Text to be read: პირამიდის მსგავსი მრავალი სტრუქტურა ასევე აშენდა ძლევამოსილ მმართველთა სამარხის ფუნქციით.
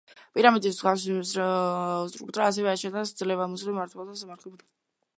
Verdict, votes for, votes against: rejected, 1, 2